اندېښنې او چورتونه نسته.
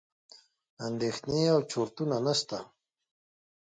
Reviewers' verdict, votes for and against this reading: accepted, 2, 0